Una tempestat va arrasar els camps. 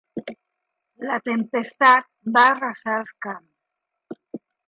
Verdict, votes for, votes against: rejected, 0, 2